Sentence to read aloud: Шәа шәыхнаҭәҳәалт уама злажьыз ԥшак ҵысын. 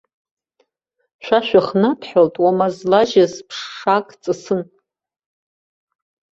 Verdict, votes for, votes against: accepted, 2, 1